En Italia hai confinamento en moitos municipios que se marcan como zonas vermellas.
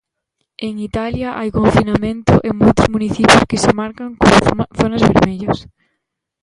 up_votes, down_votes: 0, 2